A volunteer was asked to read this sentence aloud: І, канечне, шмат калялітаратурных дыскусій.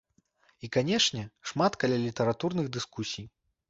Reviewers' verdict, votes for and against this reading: accepted, 2, 0